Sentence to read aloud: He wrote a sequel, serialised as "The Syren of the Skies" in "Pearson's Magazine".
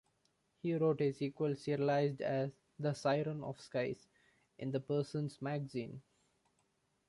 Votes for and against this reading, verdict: 1, 2, rejected